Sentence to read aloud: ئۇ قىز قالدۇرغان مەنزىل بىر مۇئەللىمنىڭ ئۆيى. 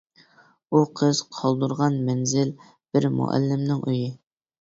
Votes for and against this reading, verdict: 2, 0, accepted